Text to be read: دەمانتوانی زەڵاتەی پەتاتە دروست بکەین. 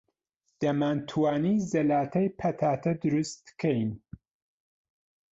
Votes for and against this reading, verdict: 0, 2, rejected